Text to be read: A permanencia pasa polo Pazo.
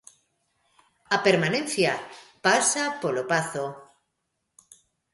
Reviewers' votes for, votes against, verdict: 2, 0, accepted